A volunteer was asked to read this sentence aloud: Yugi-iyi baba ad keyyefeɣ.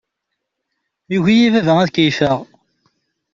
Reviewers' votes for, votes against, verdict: 2, 0, accepted